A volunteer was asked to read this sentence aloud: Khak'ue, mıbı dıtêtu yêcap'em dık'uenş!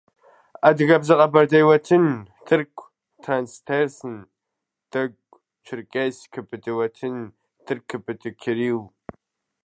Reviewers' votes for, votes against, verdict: 0, 2, rejected